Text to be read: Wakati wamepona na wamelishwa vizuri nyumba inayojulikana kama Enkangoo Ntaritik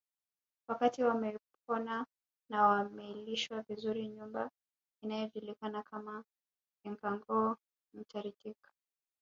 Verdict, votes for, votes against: accepted, 2, 1